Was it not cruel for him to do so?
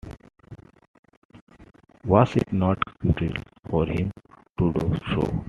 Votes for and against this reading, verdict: 2, 0, accepted